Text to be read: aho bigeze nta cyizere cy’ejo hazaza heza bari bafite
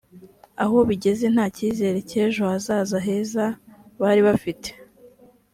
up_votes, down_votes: 4, 0